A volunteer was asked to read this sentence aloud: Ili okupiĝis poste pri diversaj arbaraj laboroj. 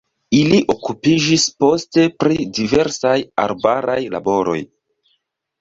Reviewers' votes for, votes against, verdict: 2, 0, accepted